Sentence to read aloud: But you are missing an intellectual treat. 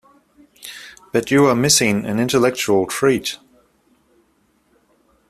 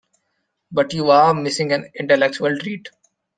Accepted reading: first